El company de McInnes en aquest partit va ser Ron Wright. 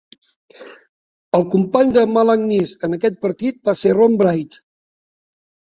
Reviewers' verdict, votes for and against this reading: accepted, 2, 1